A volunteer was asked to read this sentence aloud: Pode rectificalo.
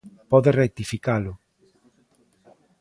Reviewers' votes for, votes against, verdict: 2, 0, accepted